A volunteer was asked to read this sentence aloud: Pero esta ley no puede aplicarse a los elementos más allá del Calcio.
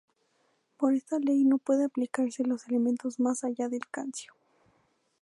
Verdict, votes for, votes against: rejected, 0, 2